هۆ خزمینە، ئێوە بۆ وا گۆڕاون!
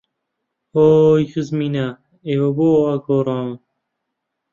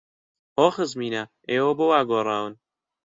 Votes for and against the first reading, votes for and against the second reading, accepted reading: 1, 2, 2, 0, second